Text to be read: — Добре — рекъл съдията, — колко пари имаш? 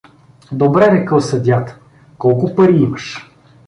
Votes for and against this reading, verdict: 2, 0, accepted